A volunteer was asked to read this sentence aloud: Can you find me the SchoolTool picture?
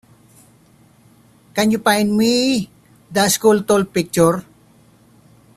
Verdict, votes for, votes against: accepted, 2, 0